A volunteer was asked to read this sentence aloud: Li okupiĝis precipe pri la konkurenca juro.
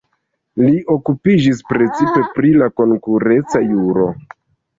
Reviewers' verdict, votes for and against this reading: rejected, 0, 2